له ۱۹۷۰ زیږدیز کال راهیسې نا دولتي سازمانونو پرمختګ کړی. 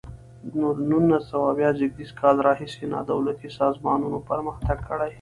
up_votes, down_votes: 0, 2